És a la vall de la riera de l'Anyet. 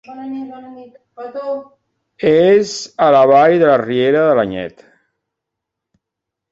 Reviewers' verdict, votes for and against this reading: rejected, 0, 2